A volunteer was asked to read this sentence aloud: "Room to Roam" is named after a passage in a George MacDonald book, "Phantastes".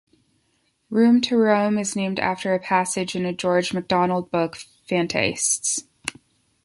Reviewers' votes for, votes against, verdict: 2, 1, accepted